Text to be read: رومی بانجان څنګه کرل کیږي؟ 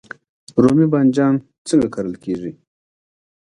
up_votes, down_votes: 2, 1